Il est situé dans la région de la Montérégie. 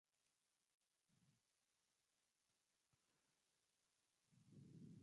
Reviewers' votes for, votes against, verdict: 1, 2, rejected